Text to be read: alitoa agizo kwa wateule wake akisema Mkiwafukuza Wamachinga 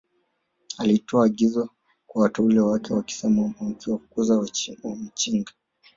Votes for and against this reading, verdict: 0, 2, rejected